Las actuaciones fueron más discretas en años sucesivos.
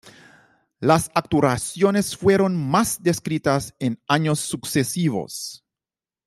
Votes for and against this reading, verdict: 0, 2, rejected